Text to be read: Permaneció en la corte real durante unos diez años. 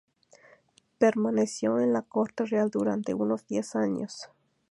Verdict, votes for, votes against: accepted, 2, 0